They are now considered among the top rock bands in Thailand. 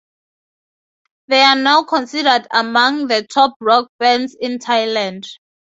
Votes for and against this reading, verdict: 2, 0, accepted